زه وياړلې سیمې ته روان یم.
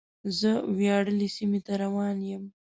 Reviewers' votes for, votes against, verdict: 2, 0, accepted